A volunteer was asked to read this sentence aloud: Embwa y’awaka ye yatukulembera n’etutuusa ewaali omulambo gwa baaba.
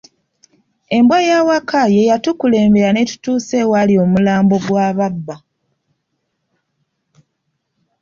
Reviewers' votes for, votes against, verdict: 1, 2, rejected